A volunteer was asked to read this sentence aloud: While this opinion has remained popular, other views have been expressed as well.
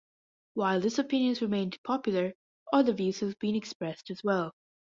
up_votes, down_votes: 2, 1